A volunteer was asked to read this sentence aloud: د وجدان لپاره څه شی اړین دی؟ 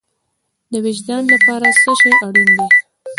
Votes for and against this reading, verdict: 1, 2, rejected